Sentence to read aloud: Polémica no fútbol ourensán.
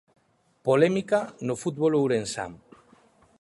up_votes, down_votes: 2, 0